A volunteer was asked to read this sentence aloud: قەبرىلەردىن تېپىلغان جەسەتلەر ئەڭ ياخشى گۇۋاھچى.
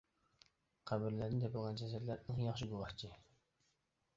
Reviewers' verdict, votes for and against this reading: rejected, 0, 2